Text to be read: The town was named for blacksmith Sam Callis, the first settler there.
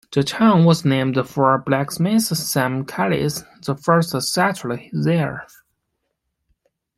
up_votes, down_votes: 2, 1